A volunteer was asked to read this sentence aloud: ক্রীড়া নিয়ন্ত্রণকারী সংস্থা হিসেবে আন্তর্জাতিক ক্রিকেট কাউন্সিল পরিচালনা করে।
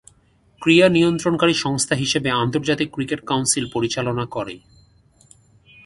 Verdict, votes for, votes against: accepted, 2, 0